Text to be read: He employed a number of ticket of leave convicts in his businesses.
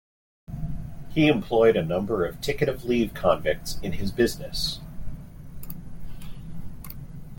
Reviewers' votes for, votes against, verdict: 1, 2, rejected